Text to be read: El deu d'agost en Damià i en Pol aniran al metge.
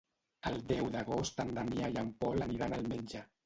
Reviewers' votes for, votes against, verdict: 1, 2, rejected